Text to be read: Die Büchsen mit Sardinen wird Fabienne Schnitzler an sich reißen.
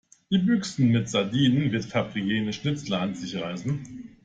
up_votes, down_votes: 1, 2